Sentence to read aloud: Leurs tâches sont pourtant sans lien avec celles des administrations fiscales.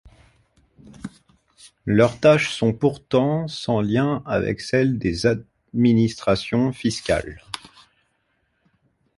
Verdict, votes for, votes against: rejected, 0, 2